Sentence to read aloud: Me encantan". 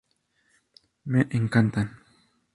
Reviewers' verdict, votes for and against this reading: accepted, 2, 0